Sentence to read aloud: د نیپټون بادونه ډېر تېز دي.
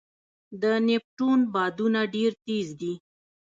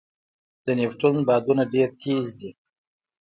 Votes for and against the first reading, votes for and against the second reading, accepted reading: 1, 2, 2, 0, second